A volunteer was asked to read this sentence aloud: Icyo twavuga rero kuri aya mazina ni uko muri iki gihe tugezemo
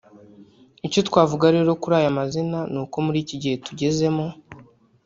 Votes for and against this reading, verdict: 1, 2, rejected